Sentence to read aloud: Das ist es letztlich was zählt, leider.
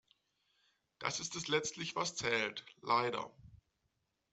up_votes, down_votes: 2, 0